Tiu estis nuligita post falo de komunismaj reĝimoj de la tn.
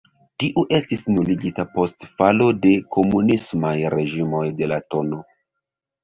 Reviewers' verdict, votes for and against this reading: rejected, 1, 2